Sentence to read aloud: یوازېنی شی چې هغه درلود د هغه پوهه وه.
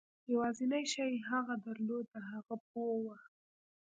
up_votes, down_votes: 0, 2